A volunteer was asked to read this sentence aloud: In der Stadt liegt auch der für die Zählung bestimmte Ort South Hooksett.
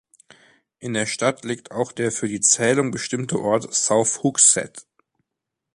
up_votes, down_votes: 2, 0